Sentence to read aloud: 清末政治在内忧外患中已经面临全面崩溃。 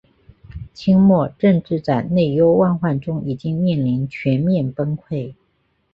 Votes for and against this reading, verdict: 2, 0, accepted